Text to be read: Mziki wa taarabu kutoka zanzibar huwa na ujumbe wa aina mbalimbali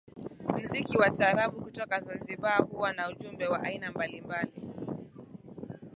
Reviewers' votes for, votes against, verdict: 14, 0, accepted